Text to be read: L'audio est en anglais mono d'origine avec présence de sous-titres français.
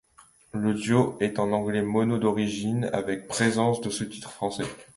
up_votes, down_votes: 2, 0